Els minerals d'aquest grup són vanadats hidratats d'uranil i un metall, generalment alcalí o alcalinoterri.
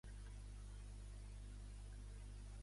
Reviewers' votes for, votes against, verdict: 0, 2, rejected